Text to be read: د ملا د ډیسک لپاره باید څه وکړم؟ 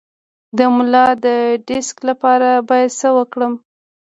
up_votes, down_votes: 2, 0